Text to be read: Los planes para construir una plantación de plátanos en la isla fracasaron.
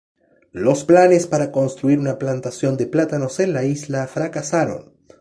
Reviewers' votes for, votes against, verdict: 2, 0, accepted